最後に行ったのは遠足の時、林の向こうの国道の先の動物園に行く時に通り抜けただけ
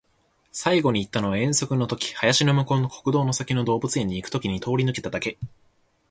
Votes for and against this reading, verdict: 3, 1, accepted